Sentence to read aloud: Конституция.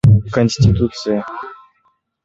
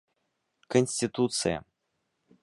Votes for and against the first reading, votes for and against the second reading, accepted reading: 1, 2, 2, 0, second